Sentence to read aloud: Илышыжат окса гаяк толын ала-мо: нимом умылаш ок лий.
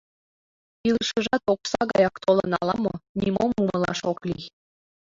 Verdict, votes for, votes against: accepted, 2, 0